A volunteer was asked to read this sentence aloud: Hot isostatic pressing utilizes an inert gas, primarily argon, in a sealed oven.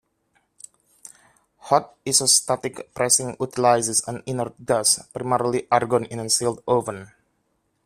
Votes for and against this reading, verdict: 1, 2, rejected